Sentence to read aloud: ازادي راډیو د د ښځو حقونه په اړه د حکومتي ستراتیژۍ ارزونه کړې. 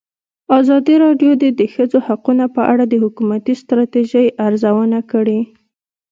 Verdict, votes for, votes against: rejected, 1, 2